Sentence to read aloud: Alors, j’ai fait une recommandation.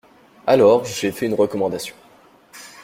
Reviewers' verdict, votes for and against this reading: accepted, 2, 0